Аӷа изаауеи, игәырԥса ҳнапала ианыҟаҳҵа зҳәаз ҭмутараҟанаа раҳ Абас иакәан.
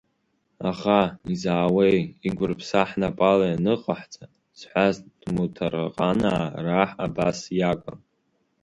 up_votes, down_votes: 3, 0